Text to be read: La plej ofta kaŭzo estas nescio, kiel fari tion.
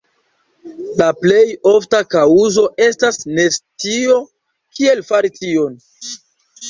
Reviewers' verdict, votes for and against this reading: rejected, 1, 2